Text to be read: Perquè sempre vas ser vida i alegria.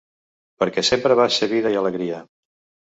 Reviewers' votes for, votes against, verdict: 2, 0, accepted